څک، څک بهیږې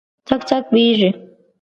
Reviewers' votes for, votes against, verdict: 2, 0, accepted